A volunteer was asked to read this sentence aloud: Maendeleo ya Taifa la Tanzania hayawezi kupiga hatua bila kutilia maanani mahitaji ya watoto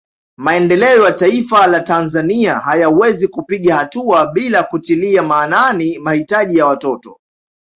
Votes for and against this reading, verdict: 2, 0, accepted